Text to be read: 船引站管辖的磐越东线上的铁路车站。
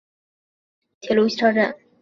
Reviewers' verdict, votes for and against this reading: rejected, 2, 2